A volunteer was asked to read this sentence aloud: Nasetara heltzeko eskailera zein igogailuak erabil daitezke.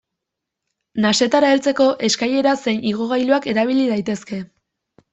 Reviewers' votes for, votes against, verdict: 0, 2, rejected